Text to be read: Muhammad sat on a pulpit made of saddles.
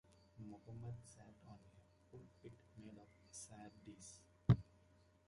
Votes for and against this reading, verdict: 0, 2, rejected